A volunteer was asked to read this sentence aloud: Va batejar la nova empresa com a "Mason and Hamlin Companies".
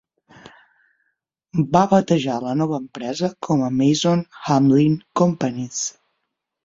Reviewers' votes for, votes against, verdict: 3, 9, rejected